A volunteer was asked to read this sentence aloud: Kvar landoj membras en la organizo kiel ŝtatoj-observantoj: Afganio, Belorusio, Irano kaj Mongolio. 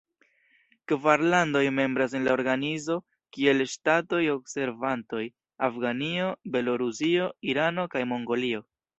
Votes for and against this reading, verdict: 2, 0, accepted